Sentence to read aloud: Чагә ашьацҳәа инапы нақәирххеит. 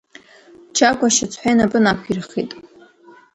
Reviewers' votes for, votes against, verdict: 3, 1, accepted